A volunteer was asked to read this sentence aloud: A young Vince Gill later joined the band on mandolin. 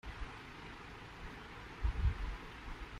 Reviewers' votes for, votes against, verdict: 0, 2, rejected